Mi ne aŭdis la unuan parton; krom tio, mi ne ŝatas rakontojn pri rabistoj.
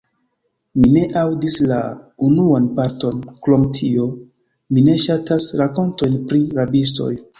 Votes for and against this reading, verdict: 1, 2, rejected